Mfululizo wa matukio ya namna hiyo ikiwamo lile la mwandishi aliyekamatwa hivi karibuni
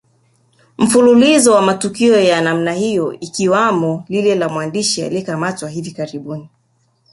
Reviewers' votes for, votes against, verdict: 1, 2, rejected